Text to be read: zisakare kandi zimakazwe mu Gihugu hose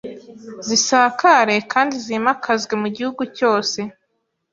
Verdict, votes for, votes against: rejected, 0, 2